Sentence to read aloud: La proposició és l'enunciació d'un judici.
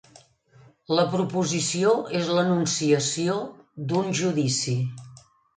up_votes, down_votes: 2, 0